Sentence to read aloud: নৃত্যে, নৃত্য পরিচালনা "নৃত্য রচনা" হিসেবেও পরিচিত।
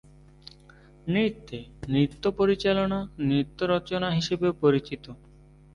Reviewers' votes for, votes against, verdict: 2, 0, accepted